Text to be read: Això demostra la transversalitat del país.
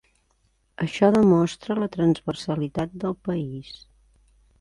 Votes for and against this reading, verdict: 5, 0, accepted